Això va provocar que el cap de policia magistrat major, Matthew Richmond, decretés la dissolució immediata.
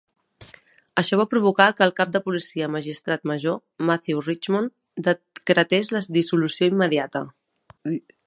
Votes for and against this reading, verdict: 0, 2, rejected